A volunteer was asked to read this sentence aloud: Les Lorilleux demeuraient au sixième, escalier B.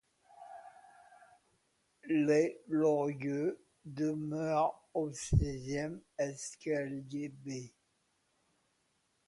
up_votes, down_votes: 1, 2